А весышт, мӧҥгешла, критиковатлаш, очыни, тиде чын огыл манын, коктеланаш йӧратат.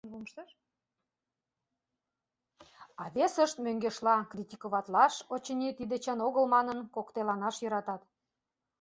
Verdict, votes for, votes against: rejected, 1, 2